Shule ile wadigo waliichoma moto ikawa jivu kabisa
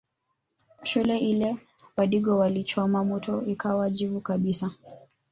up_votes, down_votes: 1, 2